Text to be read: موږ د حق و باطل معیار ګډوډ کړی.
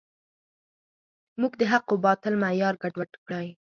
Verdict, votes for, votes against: accepted, 4, 0